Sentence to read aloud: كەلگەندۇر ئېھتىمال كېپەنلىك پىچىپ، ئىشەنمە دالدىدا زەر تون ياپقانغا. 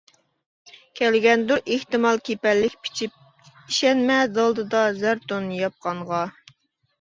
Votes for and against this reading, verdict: 2, 0, accepted